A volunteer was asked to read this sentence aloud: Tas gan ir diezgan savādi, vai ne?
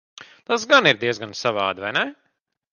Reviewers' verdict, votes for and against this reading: accepted, 2, 0